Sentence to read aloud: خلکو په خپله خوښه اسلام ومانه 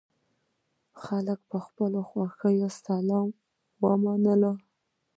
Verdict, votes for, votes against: rejected, 1, 2